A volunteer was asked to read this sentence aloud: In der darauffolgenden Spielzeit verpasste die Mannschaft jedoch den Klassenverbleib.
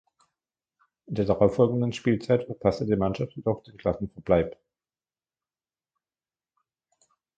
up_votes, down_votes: 0, 2